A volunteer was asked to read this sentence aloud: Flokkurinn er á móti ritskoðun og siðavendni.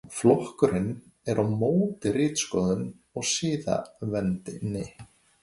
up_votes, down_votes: 0, 2